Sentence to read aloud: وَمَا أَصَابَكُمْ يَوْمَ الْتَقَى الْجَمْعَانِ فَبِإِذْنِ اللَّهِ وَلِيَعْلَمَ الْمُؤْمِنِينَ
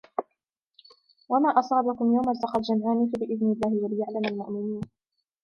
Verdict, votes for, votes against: accepted, 2, 1